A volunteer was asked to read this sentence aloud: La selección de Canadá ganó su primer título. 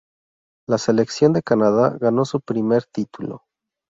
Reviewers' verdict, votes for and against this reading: accepted, 2, 0